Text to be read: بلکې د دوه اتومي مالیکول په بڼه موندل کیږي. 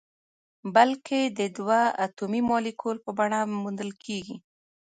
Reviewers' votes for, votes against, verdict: 2, 0, accepted